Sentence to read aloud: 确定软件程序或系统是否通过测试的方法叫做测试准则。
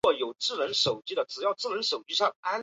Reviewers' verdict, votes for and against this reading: rejected, 0, 4